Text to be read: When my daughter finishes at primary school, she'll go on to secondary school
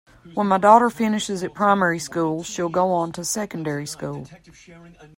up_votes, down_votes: 2, 0